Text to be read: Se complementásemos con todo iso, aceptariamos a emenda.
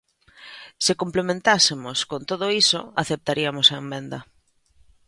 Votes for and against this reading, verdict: 1, 2, rejected